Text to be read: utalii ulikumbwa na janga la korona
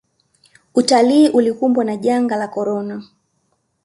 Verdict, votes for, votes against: accepted, 2, 0